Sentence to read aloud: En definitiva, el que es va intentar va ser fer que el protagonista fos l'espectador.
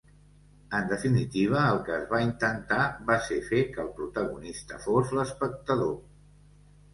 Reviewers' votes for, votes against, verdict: 2, 0, accepted